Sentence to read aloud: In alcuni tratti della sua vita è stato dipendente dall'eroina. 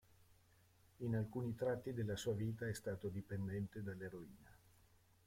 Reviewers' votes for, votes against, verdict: 0, 2, rejected